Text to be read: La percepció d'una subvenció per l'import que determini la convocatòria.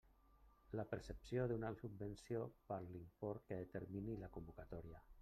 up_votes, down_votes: 1, 2